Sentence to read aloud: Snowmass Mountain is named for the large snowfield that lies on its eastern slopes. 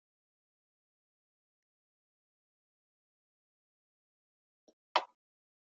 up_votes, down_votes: 0, 2